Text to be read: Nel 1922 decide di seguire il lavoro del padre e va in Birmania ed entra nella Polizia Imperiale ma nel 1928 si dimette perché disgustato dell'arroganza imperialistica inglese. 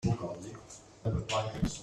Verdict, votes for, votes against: rejected, 0, 2